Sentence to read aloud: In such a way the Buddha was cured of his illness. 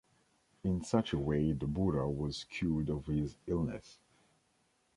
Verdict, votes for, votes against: accepted, 2, 0